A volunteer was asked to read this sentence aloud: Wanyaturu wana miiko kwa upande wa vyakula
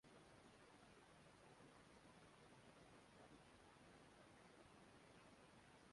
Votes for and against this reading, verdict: 0, 3, rejected